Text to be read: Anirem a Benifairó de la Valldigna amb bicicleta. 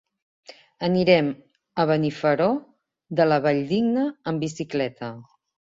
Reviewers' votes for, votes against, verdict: 0, 2, rejected